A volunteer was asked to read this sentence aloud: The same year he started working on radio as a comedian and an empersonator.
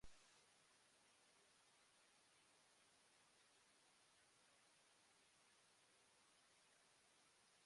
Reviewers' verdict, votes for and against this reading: rejected, 0, 2